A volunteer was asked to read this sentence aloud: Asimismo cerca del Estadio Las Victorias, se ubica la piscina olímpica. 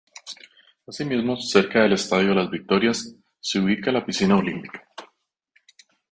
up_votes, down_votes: 2, 6